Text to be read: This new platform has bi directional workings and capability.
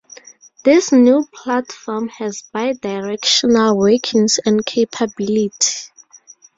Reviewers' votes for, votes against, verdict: 0, 2, rejected